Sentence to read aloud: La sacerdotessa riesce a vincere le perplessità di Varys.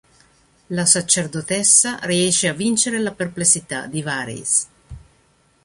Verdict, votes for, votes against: rejected, 0, 2